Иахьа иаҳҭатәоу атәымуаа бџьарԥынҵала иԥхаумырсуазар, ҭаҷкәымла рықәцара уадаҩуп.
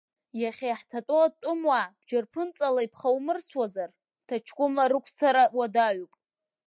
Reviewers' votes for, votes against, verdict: 2, 1, accepted